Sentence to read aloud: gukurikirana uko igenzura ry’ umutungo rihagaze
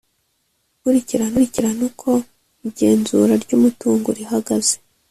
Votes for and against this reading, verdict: 1, 2, rejected